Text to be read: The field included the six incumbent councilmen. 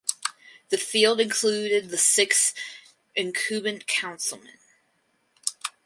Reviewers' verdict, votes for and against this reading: accepted, 4, 2